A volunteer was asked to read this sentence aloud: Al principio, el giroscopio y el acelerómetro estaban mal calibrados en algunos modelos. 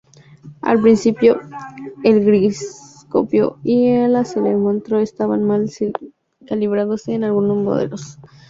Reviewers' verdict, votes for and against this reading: rejected, 0, 2